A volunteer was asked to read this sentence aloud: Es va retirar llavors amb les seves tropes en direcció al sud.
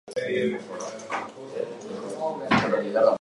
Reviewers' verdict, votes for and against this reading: rejected, 1, 3